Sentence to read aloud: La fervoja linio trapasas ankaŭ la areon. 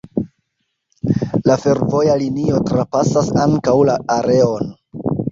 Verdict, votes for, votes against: accepted, 2, 0